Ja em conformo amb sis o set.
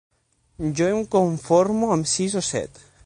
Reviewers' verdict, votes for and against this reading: rejected, 0, 6